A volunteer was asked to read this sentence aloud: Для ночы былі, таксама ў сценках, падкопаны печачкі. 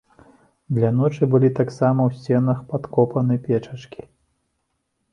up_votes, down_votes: 0, 2